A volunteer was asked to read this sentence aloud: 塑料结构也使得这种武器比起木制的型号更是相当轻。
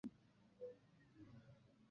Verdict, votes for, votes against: rejected, 0, 2